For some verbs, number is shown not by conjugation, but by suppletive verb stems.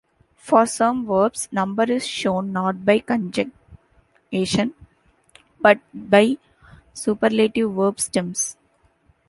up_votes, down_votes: 1, 2